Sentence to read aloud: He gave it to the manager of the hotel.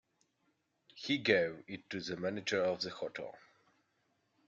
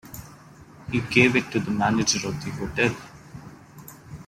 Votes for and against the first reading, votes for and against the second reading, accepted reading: 1, 2, 2, 0, second